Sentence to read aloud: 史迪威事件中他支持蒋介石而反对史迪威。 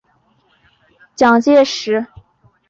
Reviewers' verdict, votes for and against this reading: rejected, 0, 2